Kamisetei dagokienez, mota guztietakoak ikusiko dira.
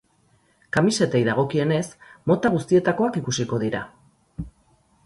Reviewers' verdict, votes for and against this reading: accepted, 4, 0